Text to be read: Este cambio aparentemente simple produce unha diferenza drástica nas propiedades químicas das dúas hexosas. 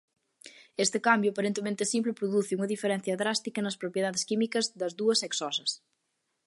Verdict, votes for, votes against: rejected, 0, 2